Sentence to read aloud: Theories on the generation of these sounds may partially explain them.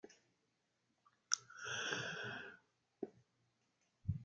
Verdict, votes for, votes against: rejected, 0, 2